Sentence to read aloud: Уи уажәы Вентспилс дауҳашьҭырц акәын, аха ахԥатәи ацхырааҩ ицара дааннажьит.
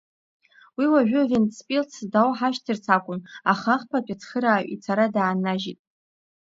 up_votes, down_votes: 2, 0